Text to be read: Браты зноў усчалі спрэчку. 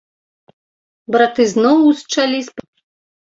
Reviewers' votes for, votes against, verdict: 1, 2, rejected